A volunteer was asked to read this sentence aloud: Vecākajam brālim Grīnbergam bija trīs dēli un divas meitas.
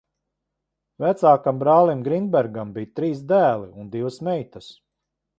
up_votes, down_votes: 0, 2